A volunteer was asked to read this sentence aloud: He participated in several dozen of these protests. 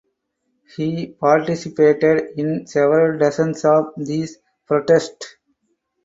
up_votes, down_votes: 2, 4